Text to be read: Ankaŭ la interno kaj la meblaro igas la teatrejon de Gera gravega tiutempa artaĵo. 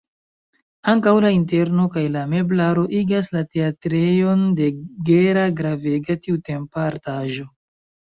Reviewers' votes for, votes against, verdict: 1, 2, rejected